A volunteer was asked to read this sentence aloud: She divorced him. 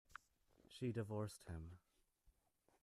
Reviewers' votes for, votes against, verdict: 0, 2, rejected